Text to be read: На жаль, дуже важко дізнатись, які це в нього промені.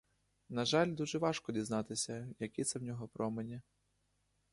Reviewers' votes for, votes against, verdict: 0, 2, rejected